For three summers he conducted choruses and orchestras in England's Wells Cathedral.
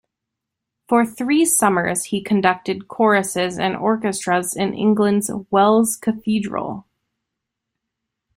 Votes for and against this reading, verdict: 2, 1, accepted